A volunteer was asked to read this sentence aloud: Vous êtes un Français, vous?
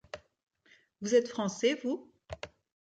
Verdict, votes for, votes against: rejected, 1, 2